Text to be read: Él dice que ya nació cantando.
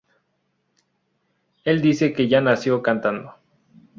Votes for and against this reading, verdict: 2, 0, accepted